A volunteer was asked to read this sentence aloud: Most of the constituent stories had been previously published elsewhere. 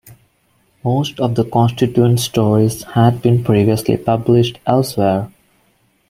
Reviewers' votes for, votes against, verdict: 0, 2, rejected